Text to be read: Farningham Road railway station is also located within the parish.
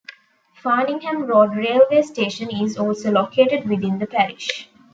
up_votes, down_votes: 2, 0